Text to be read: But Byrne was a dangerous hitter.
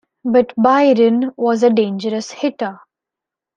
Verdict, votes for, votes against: rejected, 1, 2